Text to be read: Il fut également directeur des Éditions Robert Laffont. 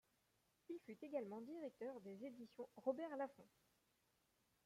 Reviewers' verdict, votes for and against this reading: rejected, 1, 2